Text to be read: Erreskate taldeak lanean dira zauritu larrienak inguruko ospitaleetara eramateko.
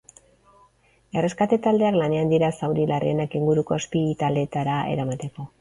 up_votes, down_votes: 2, 2